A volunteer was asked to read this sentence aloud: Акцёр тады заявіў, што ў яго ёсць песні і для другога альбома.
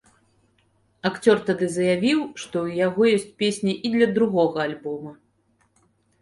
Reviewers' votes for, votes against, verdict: 2, 0, accepted